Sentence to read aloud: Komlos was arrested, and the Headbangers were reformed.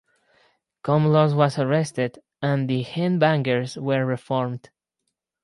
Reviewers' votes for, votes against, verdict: 0, 4, rejected